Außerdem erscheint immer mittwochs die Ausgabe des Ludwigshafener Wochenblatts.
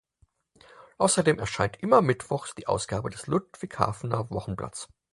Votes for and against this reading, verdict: 4, 2, accepted